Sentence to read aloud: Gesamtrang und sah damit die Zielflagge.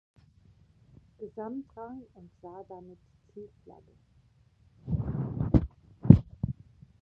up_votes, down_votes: 0, 2